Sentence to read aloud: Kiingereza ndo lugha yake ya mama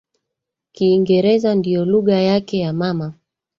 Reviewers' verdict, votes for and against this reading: rejected, 0, 4